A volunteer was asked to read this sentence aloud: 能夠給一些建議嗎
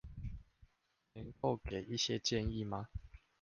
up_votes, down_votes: 0, 2